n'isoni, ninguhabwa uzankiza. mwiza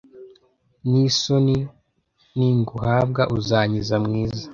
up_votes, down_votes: 2, 0